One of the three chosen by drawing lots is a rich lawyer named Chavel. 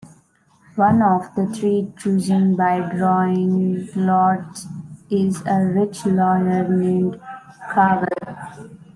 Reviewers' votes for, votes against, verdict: 0, 2, rejected